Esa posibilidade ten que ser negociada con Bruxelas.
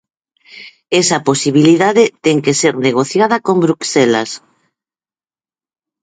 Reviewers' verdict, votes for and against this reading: rejected, 2, 4